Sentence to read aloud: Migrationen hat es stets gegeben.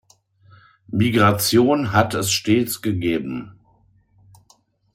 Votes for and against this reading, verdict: 2, 0, accepted